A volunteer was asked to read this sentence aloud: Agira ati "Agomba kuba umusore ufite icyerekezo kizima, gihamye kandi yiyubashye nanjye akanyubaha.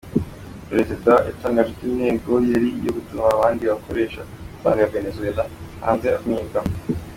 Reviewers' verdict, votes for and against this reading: rejected, 0, 2